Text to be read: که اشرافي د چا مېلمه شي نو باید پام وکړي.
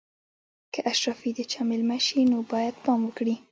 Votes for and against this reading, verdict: 2, 0, accepted